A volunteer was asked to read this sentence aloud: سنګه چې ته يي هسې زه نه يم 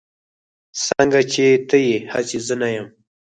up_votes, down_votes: 4, 0